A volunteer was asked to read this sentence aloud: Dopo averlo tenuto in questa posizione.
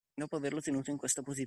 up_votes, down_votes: 0, 2